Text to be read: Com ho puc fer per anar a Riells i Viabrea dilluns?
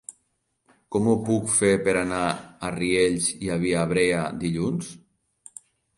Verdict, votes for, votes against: rejected, 2, 3